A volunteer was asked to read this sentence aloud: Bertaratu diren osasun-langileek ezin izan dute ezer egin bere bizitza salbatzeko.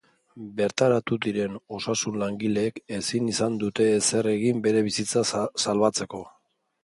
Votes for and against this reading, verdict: 0, 2, rejected